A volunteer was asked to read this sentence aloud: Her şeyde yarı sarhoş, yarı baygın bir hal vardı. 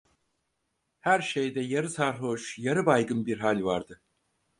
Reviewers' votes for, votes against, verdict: 4, 0, accepted